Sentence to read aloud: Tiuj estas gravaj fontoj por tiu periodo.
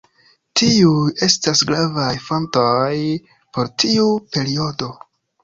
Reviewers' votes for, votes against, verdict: 2, 0, accepted